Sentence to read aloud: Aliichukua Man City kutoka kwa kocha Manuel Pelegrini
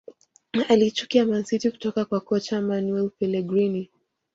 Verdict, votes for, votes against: rejected, 1, 2